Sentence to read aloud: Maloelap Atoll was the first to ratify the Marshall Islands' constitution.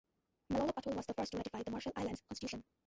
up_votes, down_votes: 0, 2